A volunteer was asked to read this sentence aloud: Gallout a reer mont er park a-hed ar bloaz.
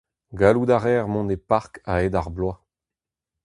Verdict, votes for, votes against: rejected, 2, 2